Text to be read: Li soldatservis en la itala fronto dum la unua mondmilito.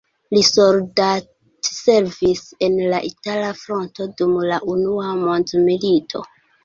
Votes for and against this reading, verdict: 2, 1, accepted